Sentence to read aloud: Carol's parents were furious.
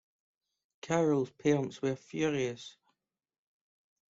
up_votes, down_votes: 2, 1